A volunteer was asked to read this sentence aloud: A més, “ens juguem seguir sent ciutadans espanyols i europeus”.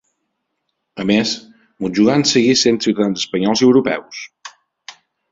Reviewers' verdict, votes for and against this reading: rejected, 1, 2